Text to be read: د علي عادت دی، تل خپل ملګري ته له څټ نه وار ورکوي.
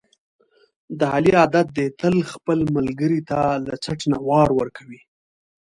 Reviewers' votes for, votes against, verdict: 2, 1, accepted